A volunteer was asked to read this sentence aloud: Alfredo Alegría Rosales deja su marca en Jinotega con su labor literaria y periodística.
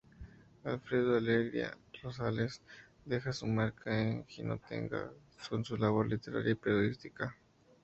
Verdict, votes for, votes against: rejected, 0, 2